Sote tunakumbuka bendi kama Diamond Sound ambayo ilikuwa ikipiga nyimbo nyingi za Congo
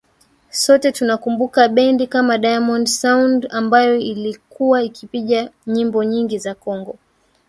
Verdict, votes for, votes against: accepted, 2, 1